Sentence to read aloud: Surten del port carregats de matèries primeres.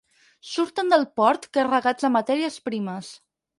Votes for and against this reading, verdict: 0, 4, rejected